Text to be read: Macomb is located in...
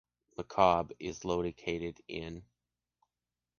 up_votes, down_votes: 0, 2